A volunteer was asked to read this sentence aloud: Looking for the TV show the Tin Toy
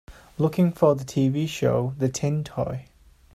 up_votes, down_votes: 3, 0